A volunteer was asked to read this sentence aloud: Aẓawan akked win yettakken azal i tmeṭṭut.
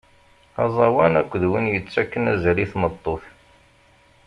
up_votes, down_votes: 2, 0